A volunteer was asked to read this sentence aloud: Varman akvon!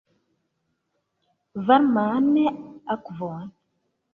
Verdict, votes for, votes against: accepted, 2, 1